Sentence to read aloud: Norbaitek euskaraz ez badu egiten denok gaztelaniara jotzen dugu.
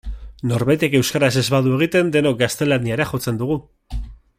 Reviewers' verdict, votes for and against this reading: accepted, 5, 1